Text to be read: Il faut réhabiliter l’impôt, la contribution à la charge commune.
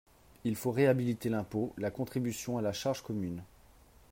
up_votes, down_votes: 3, 1